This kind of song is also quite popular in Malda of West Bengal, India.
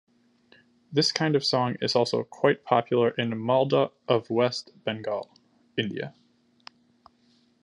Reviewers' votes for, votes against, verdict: 2, 0, accepted